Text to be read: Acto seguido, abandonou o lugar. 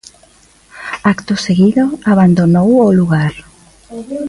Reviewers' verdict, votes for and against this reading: accepted, 2, 0